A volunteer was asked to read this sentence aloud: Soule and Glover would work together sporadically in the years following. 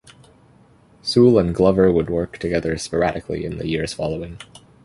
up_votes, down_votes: 2, 0